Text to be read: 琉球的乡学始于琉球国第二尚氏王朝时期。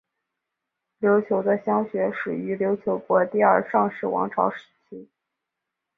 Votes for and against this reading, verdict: 2, 0, accepted